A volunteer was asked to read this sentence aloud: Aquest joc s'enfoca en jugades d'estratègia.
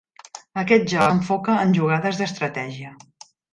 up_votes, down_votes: 0, 2